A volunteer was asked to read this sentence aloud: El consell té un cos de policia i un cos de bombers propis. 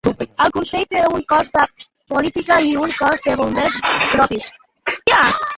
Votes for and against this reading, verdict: 1, 2, rejected